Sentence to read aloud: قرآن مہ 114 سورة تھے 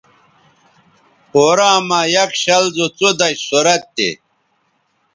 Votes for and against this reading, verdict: 0, 2, rejected